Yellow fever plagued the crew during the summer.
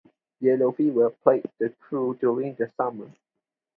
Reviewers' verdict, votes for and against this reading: accepted, 2, 0